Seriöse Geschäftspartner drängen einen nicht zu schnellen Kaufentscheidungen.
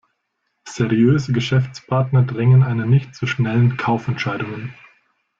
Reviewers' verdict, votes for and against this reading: accepted, 2, 0